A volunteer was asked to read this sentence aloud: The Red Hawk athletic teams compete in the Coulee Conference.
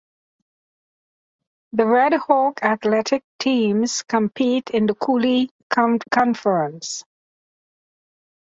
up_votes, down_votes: 1, 2